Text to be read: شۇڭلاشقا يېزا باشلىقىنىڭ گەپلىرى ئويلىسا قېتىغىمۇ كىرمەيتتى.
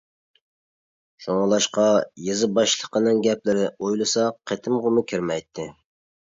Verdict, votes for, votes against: rejected, 1, 2